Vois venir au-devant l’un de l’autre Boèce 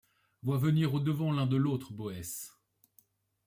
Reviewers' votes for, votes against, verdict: 2, 0, accepted